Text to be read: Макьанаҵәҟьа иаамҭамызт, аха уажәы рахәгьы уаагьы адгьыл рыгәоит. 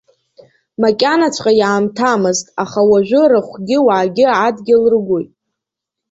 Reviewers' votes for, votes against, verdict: 2, 0, accepted